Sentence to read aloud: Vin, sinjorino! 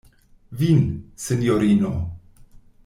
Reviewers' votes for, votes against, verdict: 2, 0, accepted